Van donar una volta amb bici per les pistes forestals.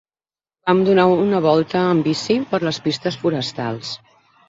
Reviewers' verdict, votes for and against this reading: rejected, 3, 6